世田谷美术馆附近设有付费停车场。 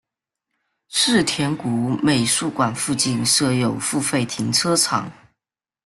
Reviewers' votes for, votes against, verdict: 2, 0, accepted